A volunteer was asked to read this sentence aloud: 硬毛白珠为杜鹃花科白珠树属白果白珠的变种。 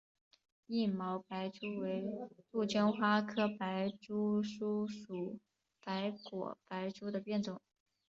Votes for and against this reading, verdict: 2, 1, accepted